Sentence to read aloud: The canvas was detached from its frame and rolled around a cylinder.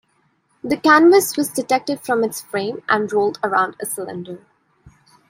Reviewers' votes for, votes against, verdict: 0, 2, rejected